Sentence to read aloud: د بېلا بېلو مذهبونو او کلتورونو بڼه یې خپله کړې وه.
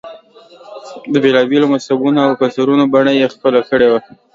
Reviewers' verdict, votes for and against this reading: accepted, 2, 0